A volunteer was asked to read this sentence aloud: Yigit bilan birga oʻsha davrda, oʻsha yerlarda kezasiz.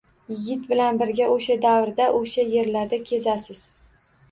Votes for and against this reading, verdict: 2, 0, accepted